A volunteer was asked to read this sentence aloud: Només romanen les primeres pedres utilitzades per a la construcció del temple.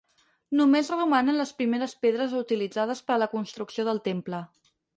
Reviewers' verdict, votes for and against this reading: rejected, 2, 4